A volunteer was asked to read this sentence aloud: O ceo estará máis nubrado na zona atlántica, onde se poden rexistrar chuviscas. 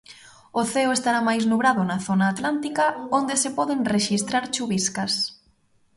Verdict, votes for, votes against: accepted, 3, 0